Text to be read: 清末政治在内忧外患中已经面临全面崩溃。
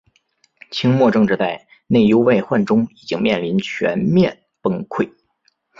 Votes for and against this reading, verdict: 3, 0, accepted